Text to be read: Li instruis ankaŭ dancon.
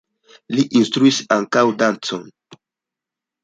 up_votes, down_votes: 2, 0